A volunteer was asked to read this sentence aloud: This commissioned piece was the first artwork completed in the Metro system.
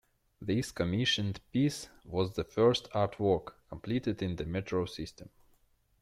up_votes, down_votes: 1, 2